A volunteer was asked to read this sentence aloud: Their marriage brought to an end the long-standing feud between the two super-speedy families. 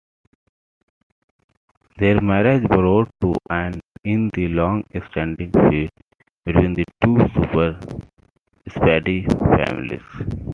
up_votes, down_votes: 2, 0